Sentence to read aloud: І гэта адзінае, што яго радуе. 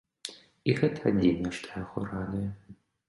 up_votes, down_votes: 1, 2